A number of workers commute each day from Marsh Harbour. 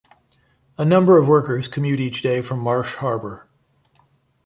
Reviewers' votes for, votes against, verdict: 2, 0, accepted